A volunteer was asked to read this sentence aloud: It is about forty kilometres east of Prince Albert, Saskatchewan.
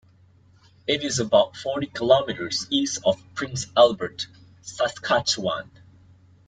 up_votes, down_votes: 2, 0